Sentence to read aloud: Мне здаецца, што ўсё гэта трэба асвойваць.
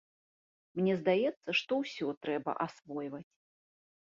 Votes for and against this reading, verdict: 1, 2, rejected